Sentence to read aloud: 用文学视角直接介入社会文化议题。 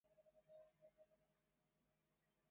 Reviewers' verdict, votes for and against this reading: rejected, 0, 2